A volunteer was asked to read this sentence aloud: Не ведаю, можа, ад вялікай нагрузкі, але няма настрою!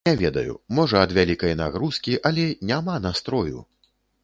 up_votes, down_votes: 0, 2